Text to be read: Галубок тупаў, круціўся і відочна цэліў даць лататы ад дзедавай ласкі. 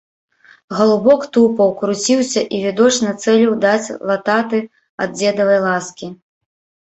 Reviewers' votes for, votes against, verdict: 0, 2, rejected